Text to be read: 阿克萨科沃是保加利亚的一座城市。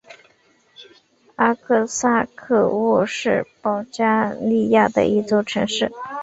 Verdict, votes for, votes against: accepted, 3, 0